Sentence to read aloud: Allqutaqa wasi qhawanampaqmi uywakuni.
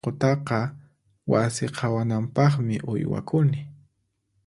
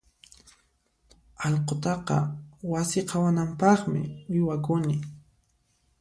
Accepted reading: second